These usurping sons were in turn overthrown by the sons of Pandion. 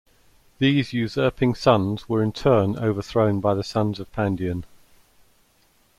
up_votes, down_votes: 2, 0